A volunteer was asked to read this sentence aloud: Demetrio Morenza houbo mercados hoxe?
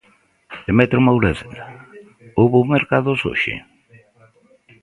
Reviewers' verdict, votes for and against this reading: rejected, 0, 2